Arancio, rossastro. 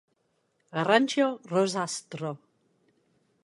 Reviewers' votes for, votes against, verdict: 1, 2, rejected